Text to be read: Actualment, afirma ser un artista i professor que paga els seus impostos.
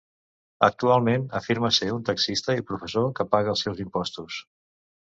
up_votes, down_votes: 1, 2